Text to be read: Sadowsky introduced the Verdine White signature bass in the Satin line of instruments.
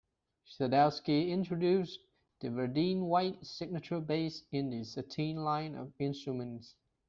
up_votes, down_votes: 2, 0